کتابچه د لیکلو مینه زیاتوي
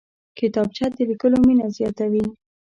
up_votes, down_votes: 2, 0